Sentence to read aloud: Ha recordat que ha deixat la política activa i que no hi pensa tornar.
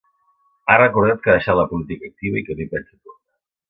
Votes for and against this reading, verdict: 1, 2, rejected